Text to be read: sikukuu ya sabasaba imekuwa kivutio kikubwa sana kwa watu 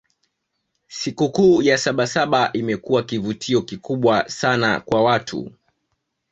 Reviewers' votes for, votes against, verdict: 0, 2, rejected